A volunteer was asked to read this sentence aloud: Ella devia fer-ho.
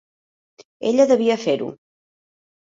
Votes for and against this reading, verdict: 2, 0, accepted